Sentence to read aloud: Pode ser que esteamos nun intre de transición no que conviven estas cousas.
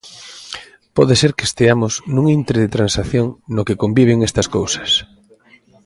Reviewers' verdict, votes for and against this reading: rejected, 0, 2